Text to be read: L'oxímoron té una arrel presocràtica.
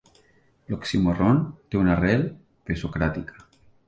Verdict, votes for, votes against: accepted, 2, 0